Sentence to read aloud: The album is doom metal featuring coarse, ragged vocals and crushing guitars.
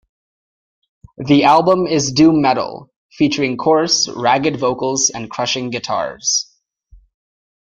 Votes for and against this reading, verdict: 2, 0, accepted